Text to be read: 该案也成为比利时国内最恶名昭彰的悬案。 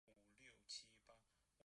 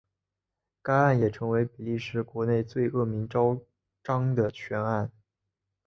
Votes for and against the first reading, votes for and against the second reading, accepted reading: 0, 2, 2, 1, second